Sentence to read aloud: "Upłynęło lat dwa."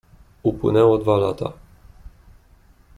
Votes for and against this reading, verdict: 1, 2, rejected